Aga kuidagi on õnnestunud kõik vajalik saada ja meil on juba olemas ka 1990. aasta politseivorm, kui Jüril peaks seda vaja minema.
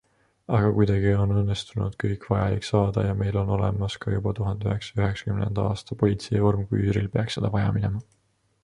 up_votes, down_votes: 0, 2